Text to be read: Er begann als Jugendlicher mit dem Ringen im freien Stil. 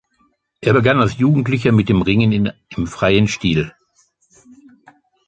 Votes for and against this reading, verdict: 0, 2, rejected